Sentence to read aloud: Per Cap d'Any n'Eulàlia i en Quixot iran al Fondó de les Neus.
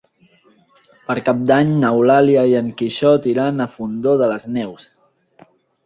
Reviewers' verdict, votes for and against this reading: rejected, 0, 2